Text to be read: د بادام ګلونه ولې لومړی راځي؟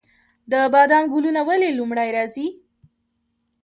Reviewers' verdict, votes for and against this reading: rejected, 0, 2